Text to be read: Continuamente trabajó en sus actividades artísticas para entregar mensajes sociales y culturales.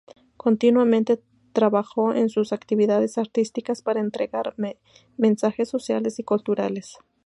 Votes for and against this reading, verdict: 0, 2, rejected